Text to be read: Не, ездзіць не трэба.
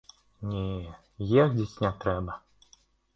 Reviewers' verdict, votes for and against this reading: rejected, 1, 2